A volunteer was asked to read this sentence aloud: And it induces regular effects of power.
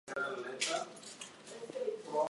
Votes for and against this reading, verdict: 0, 2, rejected